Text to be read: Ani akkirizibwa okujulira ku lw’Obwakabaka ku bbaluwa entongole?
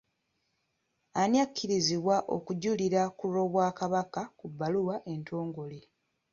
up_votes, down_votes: 2, 0